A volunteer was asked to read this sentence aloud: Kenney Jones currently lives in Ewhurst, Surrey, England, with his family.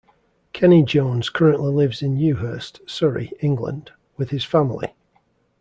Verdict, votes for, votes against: accepted, 2, 0